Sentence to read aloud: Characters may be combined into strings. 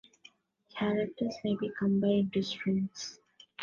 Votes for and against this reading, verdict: 0, 2, rejected